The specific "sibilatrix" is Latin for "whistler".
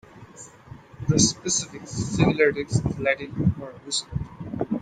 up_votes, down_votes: 0, 2